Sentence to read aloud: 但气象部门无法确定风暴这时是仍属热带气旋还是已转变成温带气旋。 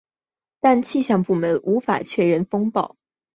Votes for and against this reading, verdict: 1, 3, rejected